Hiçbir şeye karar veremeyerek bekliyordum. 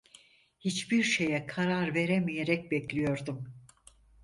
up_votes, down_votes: 4, 0